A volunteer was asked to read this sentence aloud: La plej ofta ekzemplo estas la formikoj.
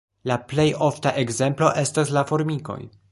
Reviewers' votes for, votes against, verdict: 2, 0, accepted